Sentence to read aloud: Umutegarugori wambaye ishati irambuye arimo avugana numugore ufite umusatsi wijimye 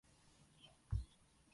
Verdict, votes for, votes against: rejected, 0, 2